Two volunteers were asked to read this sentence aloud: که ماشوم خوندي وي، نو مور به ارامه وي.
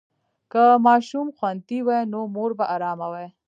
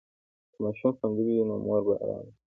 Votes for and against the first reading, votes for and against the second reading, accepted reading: 1, 2, 2, 0, second